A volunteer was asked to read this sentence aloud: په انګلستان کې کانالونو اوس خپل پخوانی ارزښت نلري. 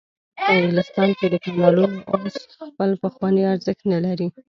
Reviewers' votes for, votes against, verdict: 1, 2, rejected